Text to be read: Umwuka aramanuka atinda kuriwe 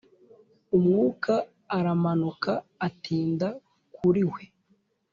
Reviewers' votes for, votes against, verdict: 2, 0, accepted